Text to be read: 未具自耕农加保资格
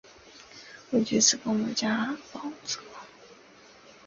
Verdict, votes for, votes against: accepted, 2, 0